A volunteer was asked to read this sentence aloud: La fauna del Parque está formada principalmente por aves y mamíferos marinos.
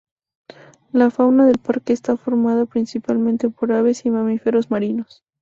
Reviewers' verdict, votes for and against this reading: accepted, 2, 0